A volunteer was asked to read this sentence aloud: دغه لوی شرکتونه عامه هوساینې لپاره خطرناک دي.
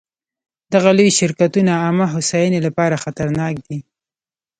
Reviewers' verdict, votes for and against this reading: rejected, 1, 2